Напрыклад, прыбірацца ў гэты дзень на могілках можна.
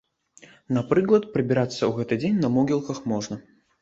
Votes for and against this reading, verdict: 0, 2, rejected